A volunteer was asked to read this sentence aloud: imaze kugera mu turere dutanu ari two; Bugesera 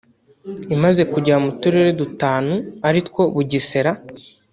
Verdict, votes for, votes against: rejected, 1, 2